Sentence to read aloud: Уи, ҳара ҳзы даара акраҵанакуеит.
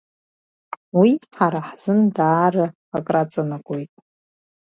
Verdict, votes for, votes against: rejected, 1, 2